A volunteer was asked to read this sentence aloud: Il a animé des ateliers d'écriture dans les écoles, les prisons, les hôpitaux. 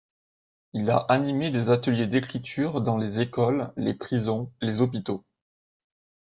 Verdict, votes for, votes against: accepted, 2, 0